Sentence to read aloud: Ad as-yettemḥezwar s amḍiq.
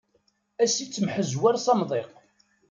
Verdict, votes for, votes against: accepted, 2, 0